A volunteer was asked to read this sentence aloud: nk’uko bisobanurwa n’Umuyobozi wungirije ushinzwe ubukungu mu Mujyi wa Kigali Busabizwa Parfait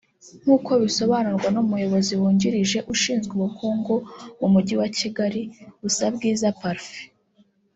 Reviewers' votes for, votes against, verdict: 2, 3, rejected